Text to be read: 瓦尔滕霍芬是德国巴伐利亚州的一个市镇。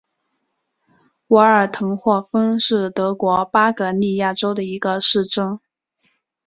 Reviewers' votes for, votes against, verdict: 3, 1, accepted